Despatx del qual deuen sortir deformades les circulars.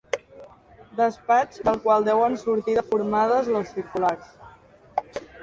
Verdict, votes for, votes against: accepted, 3, 1